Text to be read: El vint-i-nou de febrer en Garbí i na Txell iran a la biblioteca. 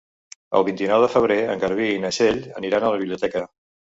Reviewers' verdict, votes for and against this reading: rejected, 0, 3